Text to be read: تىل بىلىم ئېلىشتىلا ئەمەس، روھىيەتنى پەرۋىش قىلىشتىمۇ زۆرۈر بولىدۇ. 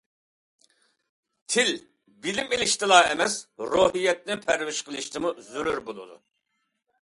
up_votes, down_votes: 2, 0